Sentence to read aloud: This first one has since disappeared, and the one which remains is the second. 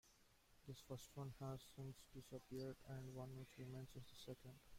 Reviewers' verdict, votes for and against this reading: rejected, 0, 2